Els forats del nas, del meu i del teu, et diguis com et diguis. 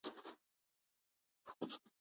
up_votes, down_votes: 0, 2